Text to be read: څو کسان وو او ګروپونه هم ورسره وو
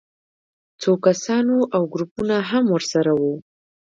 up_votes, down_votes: 1, 2